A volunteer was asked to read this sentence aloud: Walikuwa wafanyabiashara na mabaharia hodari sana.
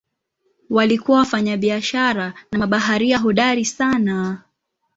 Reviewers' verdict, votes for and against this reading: accepted, 2, 0